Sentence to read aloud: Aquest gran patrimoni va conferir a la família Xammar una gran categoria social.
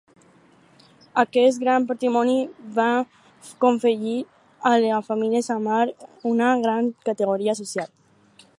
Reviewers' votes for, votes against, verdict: 0, 4, rejected